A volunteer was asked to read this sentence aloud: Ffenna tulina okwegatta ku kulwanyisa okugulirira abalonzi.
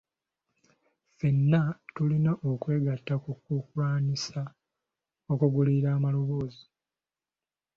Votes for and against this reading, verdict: 2, 0, accepted